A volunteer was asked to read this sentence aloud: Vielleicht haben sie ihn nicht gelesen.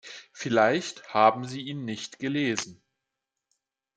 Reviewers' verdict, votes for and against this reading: accepted, 2, 0